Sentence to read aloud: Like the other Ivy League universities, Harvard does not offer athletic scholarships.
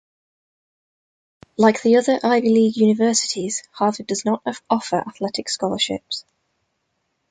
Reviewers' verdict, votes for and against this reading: rejected, 1, 2